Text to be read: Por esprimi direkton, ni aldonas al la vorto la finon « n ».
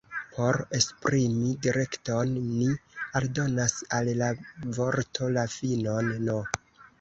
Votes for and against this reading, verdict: 1, 2, rejected